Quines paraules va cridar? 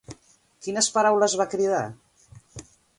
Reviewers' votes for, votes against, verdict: 2, 0, accepted